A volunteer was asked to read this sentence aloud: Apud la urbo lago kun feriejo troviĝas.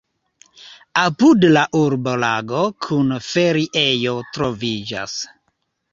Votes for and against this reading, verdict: 2, 0, accepted